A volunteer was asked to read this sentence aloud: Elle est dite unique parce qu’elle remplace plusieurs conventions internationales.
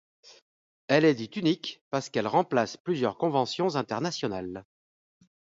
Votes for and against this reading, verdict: 2, 0, accepted